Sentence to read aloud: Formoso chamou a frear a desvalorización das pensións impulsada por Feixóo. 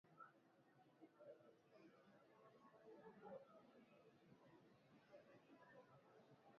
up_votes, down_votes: 0, 2